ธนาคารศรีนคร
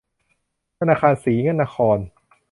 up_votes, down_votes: 1, 2